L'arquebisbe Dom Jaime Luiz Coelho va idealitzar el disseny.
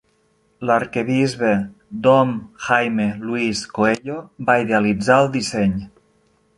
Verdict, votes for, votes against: rejected, 0, 2